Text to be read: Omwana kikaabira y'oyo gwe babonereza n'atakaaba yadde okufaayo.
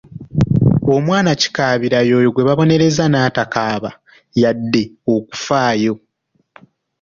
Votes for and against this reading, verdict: 2, 0, accepted